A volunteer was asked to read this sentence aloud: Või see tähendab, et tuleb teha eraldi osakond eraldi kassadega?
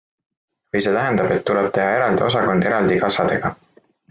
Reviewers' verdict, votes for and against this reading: accepted, 2, 0